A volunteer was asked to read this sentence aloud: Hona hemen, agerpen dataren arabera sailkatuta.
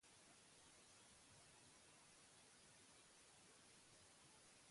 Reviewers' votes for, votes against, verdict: 0, 6, rejected